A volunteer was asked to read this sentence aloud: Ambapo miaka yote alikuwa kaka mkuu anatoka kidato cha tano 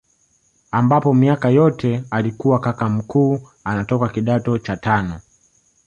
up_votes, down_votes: 2, 1